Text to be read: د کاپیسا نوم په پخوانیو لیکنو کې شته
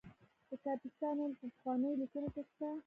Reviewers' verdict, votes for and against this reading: rejected, 1, 2